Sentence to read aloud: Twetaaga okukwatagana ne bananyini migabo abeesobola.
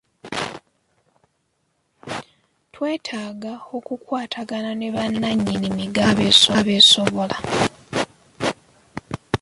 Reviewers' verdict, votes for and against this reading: rejected, 2, 3